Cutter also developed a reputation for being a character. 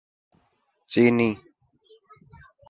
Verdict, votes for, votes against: rejected, 0, 2